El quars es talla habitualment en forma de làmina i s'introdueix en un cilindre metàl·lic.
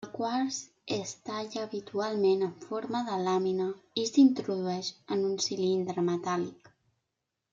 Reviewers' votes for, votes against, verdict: 0, 2, rejected